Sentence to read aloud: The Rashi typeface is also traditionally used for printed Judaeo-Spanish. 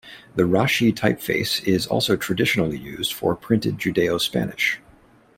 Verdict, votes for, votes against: accepted, 2, 0